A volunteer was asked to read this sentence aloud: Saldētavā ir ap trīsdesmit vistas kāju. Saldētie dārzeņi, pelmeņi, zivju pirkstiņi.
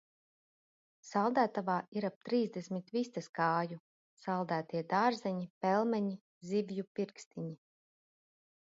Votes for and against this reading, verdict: 2, 0, accepted